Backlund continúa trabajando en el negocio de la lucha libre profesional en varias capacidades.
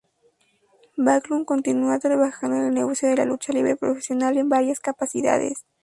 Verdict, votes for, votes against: accepted, 6, 2